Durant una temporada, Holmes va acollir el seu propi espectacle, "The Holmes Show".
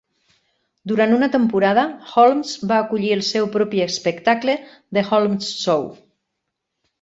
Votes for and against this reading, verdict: 4, 0, accepted